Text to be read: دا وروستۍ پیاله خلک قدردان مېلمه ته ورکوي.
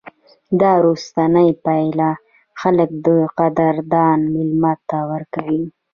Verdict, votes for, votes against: rejected, 1, 2